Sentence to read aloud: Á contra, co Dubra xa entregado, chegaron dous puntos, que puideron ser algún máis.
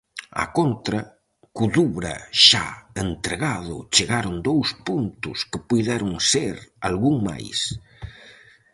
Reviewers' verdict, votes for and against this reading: accepted, 4, 0